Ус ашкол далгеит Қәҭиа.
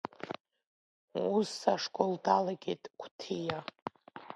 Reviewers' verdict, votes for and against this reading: accepted, 2, 1